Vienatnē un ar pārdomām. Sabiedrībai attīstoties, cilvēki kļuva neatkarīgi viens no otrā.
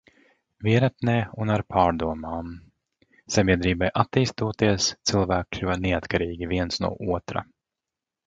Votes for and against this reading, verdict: 2, 1, accepted